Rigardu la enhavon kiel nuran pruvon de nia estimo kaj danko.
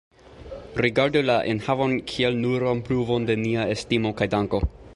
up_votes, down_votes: 2, 0